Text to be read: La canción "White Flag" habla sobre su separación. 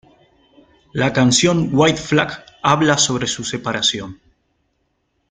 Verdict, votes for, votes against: accepted, 2, 0